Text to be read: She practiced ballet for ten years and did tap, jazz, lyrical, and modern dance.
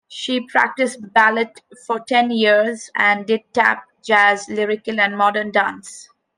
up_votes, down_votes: 1, 2